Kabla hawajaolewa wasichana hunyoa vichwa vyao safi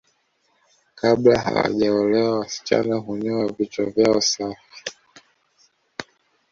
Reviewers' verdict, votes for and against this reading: accepted, 2, 0